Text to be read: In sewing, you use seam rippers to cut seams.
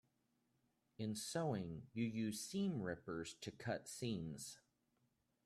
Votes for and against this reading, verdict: 3, 0, accepted